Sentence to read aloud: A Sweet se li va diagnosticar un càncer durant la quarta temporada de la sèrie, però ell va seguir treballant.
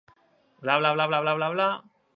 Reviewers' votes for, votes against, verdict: 0, 2, rejected